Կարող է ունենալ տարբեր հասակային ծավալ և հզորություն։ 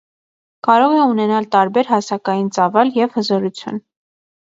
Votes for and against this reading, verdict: 2, 0, accepted